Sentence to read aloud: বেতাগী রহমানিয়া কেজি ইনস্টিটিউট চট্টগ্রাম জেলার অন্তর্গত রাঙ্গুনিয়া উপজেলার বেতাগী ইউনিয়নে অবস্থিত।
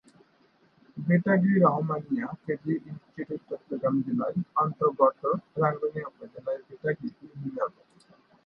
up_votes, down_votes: 2, 3